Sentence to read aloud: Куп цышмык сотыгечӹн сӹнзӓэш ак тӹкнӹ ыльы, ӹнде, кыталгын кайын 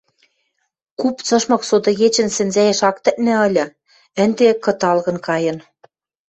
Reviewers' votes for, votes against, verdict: 2, 0, accepted